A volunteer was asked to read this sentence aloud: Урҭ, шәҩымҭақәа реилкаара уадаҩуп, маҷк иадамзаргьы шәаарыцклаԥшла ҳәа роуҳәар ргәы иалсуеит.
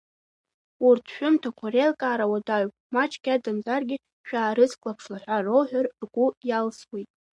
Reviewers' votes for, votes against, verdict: 0, 2, rejected